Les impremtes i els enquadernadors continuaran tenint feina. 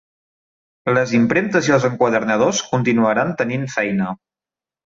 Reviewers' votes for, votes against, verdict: 2, 0, accepted